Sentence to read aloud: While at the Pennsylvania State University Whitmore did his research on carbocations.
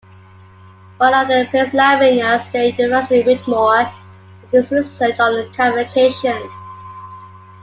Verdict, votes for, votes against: rejected, 0, 2